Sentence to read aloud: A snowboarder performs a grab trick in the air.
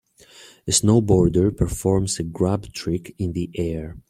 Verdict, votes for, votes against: accepted, 4, 0